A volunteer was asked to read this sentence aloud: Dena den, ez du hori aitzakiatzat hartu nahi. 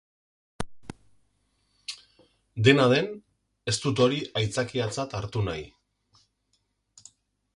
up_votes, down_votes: 0, 2